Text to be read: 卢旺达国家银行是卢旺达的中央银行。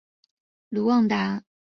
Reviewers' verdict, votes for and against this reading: accepted, 2, 1